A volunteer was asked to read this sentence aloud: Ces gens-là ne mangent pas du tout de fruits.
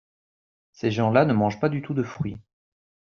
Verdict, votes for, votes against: accepted, 2, 0